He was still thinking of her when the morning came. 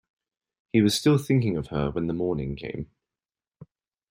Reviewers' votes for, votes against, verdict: 2, 0, accepted